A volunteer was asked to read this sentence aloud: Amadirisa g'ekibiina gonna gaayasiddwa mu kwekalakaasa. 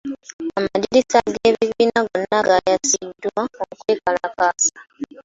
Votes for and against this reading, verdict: 1, 2, rejected